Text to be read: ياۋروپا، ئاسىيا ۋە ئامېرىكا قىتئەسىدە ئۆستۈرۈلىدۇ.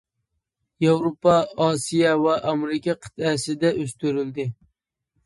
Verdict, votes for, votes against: rejected, 1, 2